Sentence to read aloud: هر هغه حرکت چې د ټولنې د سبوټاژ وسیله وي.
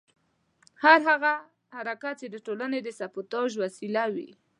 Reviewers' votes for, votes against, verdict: 1, 2, rejected